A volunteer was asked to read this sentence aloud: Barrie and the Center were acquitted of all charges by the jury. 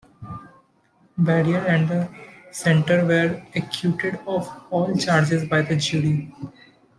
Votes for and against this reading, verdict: 0, 2, rejected